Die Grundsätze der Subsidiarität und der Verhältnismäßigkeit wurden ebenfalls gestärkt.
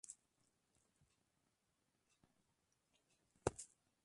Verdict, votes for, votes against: rejected, 0, 2